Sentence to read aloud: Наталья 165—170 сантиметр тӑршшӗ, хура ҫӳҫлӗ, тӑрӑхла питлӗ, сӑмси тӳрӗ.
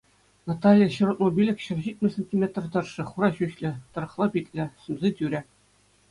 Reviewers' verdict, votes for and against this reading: rejected, 0, 2